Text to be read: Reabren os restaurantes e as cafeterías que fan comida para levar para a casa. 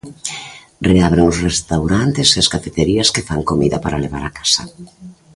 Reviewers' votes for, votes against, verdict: 1, 2, rejected